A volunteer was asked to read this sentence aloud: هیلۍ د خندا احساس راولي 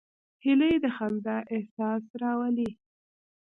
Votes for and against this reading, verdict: 2, 0, accepted